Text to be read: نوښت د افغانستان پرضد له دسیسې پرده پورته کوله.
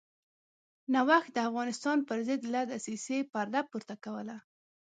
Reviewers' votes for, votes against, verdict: 2, 0, accepted